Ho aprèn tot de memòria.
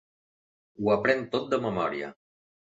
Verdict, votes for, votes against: accepted, 3, 0